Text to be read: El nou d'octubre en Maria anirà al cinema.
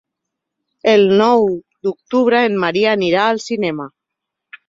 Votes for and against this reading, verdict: 1, 2, rejected